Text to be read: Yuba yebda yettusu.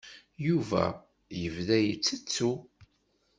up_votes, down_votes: 1, 2